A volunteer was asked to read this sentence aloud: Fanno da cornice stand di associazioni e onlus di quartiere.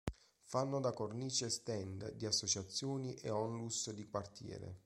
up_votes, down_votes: 2, 0